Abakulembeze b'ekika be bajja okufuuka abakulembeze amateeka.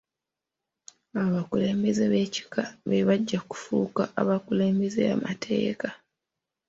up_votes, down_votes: 2, 0